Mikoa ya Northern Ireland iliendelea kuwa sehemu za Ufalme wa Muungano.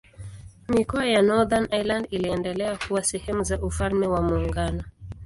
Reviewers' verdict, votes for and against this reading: accepted, 2, 0